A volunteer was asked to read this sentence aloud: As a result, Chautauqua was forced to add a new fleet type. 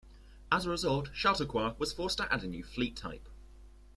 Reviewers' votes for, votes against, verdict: 2, 0, accepted